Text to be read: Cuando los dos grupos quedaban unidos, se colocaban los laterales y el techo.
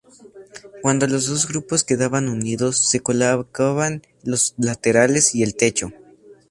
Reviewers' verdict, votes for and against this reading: rejected, 0, 2